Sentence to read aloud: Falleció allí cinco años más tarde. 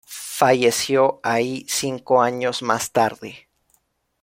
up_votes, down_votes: 2, 1